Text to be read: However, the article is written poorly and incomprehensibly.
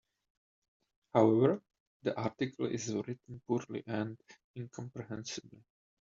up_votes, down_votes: 2, 0